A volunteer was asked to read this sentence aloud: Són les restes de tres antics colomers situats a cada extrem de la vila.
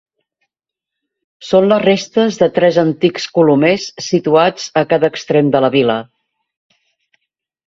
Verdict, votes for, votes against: accepted, 2, 0